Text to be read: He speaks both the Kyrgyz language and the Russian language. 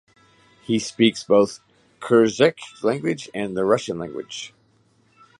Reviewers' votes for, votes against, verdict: 0, 2, rejected